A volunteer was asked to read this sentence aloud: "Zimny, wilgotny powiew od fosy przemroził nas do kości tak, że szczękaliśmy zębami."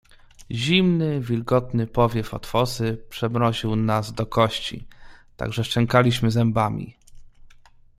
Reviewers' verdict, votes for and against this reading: accepted, 2, 0